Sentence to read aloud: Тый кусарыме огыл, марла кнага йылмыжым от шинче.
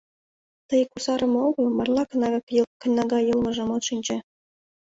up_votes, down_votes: 1, 2